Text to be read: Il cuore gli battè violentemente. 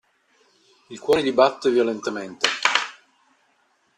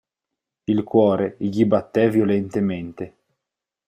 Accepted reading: second